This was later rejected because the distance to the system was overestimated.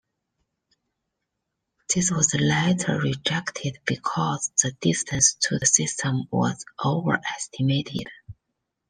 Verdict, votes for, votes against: accepted, 2, 0